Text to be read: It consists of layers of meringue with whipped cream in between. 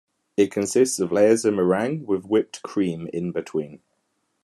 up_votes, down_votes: 2, 0